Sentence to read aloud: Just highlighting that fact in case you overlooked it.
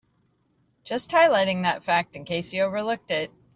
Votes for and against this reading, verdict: 2, 1, accepted